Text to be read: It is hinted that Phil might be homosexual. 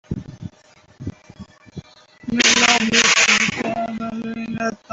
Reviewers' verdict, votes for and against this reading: rejected, 0, 2